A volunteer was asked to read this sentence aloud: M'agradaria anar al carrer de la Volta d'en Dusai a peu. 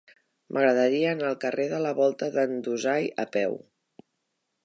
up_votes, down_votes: 2, 0